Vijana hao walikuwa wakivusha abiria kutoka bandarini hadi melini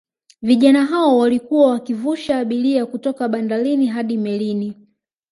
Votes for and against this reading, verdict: 2, 1, accepted